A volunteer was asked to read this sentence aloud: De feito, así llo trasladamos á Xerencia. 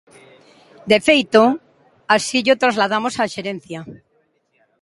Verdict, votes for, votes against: accepted, 2, 0